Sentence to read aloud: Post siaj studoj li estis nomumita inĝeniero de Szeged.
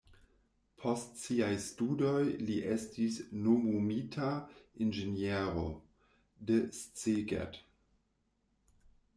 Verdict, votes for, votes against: rejected, 0, 2